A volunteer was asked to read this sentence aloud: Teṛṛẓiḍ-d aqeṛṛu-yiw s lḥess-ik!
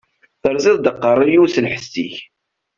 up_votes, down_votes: 2, 0